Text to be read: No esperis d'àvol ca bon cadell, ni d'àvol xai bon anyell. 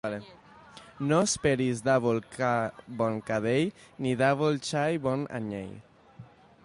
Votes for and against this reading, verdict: 2, 0, accepted